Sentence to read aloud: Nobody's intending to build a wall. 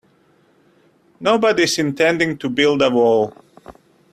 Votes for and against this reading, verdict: 2, 0, accepted